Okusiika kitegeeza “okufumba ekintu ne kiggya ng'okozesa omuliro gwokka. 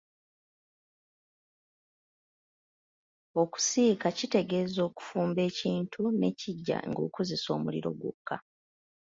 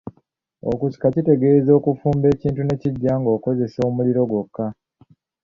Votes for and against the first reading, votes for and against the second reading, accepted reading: 2, 0, 1, 2, first